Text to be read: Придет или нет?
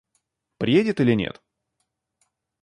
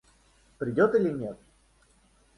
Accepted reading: second